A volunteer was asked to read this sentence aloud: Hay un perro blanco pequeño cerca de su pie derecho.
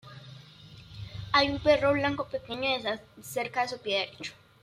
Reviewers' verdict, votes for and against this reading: rejected, 0, 2